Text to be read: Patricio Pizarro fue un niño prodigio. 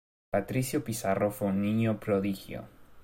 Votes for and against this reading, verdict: 2, 0, accepted